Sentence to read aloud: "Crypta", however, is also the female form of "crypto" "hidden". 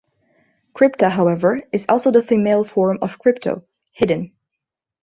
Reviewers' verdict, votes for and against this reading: accepted, 2, 0